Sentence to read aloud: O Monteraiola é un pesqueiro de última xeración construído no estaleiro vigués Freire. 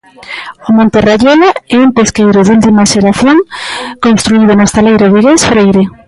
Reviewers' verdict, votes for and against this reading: accepted, 2, 0